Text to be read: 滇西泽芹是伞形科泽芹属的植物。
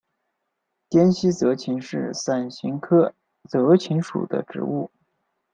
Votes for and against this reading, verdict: 2, 0, accepted